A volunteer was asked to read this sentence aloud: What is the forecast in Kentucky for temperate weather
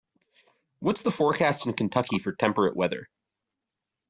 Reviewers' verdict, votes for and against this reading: rejected, 0, 2